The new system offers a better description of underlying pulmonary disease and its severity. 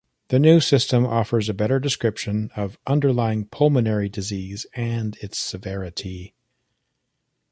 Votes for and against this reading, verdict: 2, 0, accepted